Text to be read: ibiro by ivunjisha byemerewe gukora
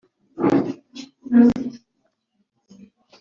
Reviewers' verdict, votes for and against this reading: rejected, 0, 3